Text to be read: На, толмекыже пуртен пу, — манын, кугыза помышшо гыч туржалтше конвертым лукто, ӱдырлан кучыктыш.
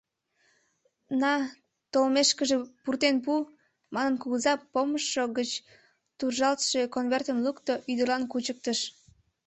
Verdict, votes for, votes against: rejected, 1, 2